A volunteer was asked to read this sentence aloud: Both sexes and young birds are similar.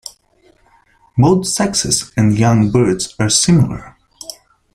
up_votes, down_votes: 2, 1